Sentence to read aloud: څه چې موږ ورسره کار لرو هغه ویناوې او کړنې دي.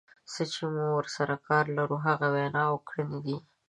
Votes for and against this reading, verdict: 2, 1, accepted